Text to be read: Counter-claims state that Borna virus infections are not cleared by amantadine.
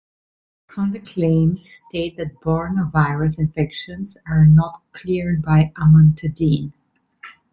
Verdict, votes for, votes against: accepted, 2, 0